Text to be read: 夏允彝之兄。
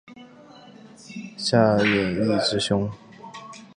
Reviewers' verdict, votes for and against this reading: rejected, 1, 2